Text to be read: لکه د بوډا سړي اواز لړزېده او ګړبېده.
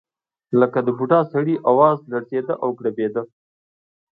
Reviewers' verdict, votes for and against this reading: accepted, 2, 0